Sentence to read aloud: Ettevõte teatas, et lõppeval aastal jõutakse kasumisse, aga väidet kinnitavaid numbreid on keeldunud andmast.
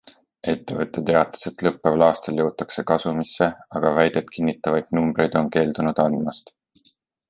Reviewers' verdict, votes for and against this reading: accepted, 3, 0